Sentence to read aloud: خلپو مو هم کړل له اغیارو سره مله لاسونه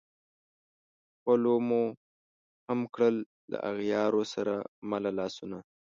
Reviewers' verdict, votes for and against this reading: rejected, 0, 2